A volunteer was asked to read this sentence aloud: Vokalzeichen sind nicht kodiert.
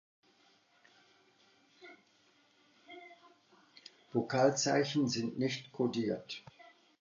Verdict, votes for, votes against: accepted, 2, 0